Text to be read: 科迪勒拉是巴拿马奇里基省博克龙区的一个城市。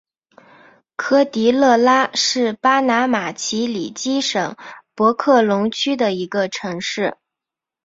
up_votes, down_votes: 2, 1